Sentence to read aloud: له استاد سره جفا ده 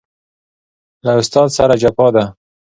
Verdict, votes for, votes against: accepted, 2, 0